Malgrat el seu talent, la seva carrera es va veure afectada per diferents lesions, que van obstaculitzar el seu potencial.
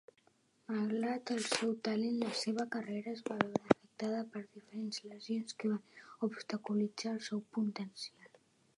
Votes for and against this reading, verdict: 0, 2, rejected